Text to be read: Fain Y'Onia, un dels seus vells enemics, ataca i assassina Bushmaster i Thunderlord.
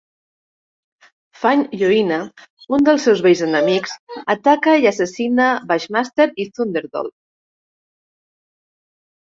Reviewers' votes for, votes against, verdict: 0, 2, rejected